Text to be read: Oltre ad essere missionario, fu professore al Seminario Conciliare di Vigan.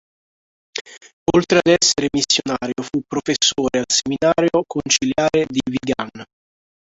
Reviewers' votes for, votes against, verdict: 0, 3, rejected